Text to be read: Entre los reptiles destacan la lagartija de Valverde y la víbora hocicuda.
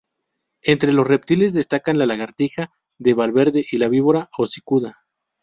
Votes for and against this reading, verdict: 2, 2, rejected